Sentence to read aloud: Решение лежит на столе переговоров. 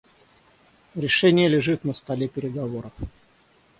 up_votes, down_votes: 3, 3